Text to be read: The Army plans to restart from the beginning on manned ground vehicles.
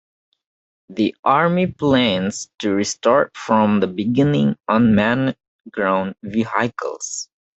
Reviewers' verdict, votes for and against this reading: rejected, 1, 2